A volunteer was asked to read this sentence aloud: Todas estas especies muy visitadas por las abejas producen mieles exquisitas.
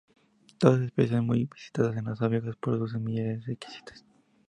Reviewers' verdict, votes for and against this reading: rejected, 0, 2